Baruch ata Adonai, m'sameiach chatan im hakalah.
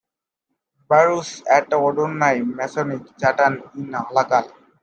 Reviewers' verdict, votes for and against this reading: rejected, 0, 2